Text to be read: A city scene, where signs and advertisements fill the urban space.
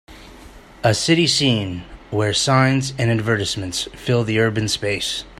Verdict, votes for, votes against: rejected, 1, 2